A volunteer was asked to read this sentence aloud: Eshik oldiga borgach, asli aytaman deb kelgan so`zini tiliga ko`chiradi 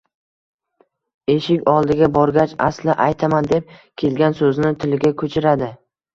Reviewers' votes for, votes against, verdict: 2, 0, accepted